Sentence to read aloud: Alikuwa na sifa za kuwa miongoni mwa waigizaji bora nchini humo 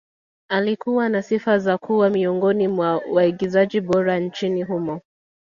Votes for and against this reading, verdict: 2, 0, accepted